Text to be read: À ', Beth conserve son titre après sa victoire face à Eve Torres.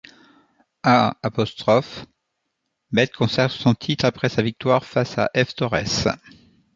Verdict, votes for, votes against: rejected, 1, 2